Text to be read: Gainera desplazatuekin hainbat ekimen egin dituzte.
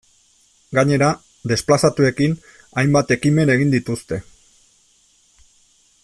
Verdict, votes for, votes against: accepted, 2, 0